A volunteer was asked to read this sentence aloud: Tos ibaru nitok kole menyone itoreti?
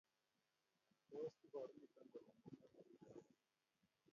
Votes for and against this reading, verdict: 0, 2, rejected